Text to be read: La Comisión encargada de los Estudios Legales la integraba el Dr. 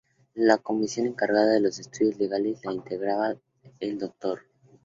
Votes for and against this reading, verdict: 2, 0, accepted